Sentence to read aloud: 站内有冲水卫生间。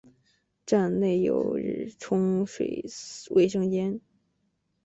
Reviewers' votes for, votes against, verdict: 3, 0, accepted